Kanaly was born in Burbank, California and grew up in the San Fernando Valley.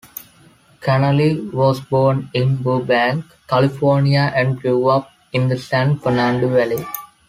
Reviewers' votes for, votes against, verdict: 2, 0, accepted